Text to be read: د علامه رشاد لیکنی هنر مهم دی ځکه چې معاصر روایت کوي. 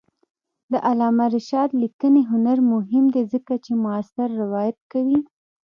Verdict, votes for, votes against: rejected, 1, 2